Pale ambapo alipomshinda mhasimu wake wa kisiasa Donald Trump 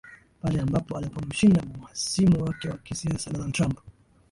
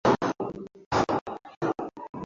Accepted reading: first